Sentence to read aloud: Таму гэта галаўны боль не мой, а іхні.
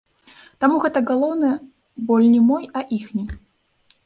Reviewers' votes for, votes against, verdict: 0, 2, rejected